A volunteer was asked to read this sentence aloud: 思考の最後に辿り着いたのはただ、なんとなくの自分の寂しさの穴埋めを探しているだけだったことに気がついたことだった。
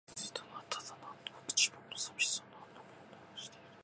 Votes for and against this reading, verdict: 0, 2, rejected